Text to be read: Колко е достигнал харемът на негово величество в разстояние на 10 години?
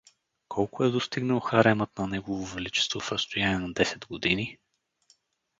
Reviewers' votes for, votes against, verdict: 0, 2, rejected